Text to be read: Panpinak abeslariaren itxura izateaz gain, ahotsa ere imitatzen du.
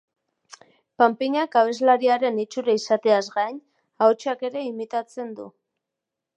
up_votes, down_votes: 0, 2